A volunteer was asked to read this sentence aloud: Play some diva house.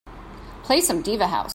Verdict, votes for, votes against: accepted, 2, 0